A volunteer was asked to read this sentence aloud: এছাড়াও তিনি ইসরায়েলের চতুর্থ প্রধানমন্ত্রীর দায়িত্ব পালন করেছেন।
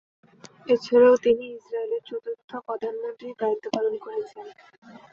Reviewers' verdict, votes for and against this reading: rejected, 0, 2